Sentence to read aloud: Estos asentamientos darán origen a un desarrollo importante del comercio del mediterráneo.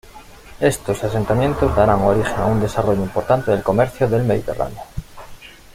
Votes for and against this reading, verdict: 1, 2, rejected